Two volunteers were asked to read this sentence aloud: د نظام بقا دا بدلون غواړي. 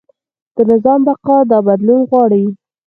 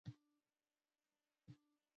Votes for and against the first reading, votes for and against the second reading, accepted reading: 4, 2, 0, 2, first